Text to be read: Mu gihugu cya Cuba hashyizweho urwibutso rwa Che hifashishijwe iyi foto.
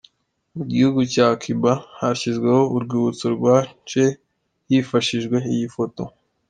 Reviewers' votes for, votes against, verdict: 2, 0, accepted